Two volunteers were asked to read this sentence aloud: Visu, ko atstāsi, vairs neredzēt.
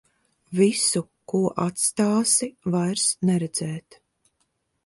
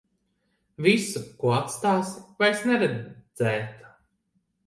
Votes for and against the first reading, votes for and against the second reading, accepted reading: 2, 0, 0, 2, first